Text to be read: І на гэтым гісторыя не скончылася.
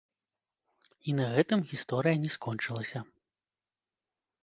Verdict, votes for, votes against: rejected, 1, 2